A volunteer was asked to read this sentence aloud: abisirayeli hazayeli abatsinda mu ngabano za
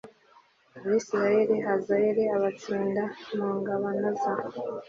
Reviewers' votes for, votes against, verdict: 2, 0, accepted